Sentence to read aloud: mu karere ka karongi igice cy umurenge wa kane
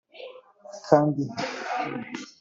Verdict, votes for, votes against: rejected, 2, 3